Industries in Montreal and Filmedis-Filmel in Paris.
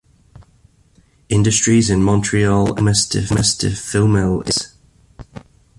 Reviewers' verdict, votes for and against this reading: rejected, 0, 2